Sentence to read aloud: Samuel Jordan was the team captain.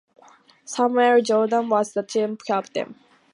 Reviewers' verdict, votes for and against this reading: rejected, 0, 2